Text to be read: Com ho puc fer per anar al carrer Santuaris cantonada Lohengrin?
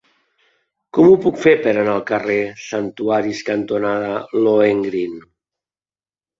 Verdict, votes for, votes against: accepted, 2, 0